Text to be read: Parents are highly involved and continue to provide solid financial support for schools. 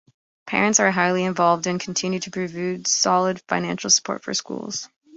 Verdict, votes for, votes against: rejected, 0, 2